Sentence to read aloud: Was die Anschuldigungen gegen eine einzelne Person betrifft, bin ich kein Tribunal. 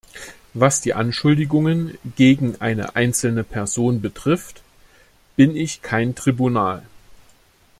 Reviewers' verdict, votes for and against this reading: accepted, 2, 0